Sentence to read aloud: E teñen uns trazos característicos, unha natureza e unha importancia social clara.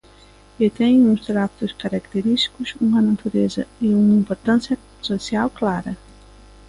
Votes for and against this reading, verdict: 2, 0, accepted